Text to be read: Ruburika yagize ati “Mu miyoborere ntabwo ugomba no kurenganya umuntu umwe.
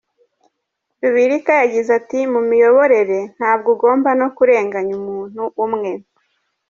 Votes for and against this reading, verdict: 3, 0, accepted